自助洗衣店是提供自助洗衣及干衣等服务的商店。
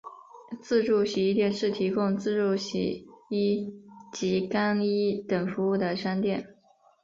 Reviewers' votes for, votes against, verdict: 5, 0, accepted